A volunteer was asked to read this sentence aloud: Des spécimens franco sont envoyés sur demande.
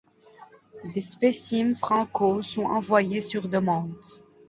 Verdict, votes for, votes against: rejected, 1, 2